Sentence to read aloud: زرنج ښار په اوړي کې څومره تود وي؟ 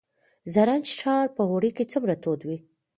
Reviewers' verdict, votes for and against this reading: rejected, 1, 2